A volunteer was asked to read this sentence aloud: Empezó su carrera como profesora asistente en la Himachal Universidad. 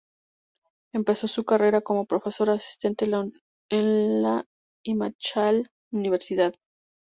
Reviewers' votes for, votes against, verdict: 0, 2, rejected